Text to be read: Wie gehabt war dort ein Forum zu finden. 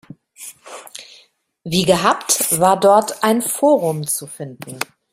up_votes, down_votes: 2, 0